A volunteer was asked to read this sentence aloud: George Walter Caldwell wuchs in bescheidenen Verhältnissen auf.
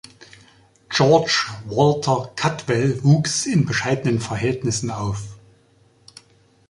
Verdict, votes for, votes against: accepted, 2, 0